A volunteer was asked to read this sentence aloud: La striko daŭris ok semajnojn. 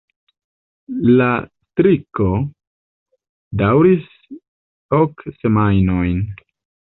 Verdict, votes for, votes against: rejected, 1, 2